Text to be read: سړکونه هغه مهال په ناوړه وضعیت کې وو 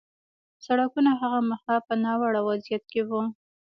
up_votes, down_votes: 0, 2